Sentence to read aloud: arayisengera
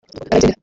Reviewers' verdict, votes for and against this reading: rejected, 0, 2